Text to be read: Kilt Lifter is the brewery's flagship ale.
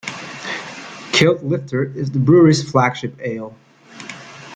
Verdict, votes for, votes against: accepted, 2, 0